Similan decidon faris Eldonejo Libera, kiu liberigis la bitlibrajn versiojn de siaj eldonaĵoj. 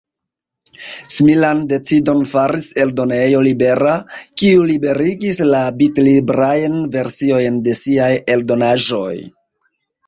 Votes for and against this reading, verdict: 2, 0, accepted